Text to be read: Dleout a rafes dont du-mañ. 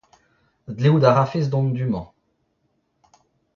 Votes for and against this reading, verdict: 0, 2, rejected